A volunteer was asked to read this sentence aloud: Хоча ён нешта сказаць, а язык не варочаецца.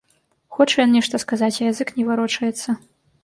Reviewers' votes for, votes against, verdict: 2, 0, accepted